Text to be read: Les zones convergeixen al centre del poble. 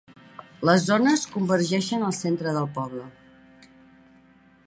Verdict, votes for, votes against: accepted, 2, 0